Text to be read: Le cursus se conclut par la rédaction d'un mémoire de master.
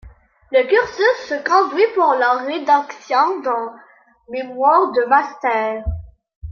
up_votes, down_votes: 1, 2